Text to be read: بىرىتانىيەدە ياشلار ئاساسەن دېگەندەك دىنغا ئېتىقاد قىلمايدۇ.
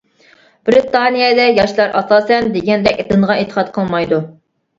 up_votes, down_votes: 0, 2